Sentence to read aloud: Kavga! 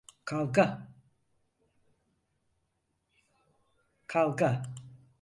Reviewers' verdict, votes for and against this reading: rejected, 0, 4